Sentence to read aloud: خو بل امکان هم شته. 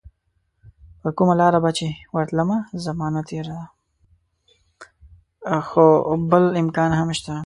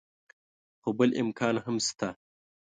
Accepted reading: second